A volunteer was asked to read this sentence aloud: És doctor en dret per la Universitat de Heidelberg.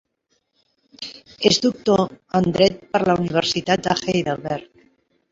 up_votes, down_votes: 0, 2